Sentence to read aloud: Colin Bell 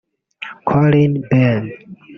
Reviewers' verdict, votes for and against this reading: rejected, 0, 2